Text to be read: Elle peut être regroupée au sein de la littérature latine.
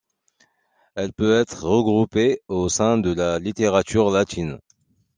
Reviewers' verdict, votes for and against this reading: accepted, 2, 0